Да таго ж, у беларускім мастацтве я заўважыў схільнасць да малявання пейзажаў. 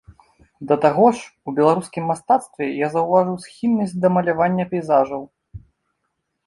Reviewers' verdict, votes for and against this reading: accepted, 2, 0